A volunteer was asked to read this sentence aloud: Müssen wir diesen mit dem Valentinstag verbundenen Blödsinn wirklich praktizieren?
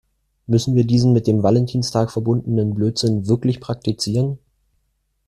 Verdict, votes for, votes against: accepted, 2, 0